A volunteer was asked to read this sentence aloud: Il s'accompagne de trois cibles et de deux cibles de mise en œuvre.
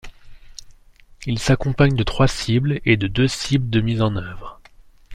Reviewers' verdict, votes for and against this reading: accepted, 2, 0